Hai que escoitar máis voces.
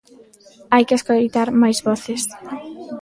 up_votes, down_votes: 1, 2